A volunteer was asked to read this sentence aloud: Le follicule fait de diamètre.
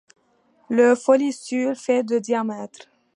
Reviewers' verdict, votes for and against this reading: rejected, 1, 2